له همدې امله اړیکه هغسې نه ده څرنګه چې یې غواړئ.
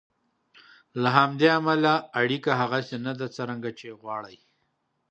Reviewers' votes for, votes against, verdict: 2, 0, accepted